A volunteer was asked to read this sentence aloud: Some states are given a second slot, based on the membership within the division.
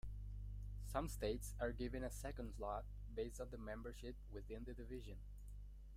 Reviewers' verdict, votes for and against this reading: rejected, 1, 2